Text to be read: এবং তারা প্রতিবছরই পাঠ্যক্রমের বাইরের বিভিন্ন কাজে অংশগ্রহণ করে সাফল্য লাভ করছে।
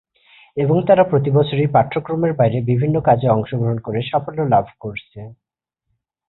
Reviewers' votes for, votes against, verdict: 9, 0, accepted